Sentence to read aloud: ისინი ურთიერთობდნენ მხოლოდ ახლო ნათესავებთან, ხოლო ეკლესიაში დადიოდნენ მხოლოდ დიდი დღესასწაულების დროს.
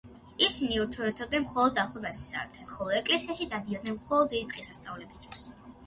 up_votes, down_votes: 2, 0